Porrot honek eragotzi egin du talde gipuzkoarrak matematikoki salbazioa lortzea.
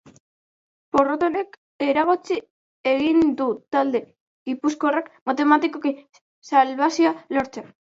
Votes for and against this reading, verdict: 1, 2, rejected